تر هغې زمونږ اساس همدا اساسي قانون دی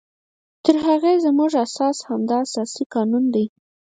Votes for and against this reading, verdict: 6, 0, accepted